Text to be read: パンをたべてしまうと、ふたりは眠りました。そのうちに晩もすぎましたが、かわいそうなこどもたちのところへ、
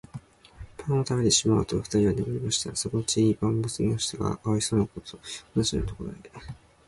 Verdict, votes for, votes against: rejected, 1, 2